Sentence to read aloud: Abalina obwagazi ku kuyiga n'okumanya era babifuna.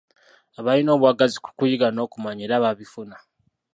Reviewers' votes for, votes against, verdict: 0, 2, rejected